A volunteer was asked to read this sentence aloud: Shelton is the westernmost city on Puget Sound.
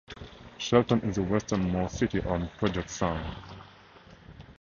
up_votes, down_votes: 2, 4